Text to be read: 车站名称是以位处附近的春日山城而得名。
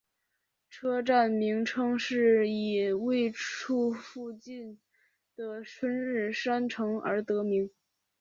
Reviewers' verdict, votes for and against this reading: accepted, 2, 0